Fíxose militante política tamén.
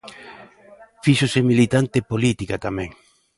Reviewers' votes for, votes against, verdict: 1, 2, rejected